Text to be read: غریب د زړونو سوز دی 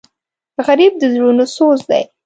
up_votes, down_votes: 2, 0